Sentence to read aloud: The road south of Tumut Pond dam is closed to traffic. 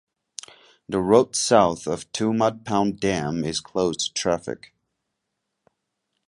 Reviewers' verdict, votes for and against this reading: accepted, 2, 0